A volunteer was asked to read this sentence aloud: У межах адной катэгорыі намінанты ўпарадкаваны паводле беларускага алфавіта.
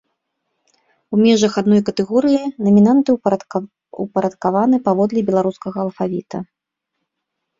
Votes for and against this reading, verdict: 1, 2, rejected